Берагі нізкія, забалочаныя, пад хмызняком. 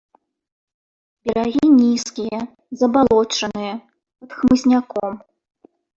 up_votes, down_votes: 1, 2